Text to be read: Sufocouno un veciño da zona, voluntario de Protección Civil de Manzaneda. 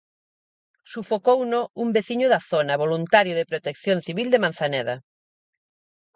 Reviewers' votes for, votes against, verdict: 4, 0, accepted